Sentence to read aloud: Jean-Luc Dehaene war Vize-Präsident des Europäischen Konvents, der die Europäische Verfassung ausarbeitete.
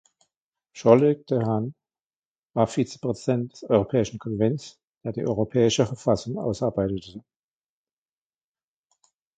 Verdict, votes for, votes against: rejected, 1, 2